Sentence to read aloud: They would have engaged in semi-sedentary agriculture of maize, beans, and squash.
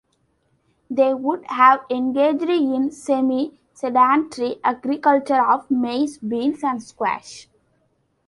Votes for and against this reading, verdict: 2, 0, accepted